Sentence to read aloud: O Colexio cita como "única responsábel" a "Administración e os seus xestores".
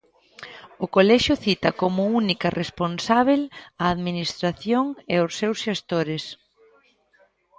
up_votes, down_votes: 2, 0